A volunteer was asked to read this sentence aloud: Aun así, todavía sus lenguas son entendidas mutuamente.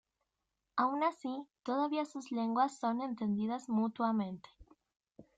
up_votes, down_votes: 2, 0